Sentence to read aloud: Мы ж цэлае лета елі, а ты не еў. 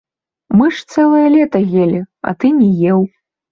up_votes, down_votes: 2, 0